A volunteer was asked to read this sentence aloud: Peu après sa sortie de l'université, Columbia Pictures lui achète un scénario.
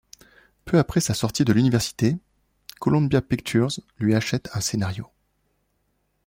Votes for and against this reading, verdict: 2, 0, accepted